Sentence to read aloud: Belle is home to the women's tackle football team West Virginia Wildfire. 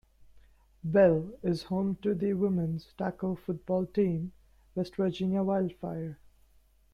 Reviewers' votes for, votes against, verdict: 2, 0, accepted